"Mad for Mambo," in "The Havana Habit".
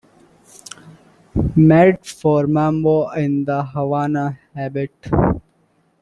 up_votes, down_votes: 2, 1